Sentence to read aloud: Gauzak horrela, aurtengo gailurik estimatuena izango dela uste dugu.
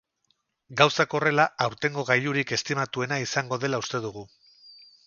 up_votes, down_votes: 2, 0